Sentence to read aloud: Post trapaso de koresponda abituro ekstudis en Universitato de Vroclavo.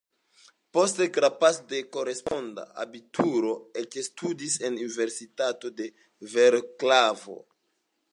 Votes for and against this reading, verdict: 0, 2, rejected